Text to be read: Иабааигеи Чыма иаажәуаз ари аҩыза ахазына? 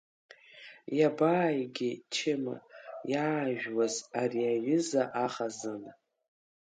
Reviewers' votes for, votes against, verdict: 3, 1, accepted